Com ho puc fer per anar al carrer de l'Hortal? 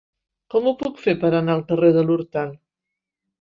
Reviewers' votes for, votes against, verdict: 3, 0, accepted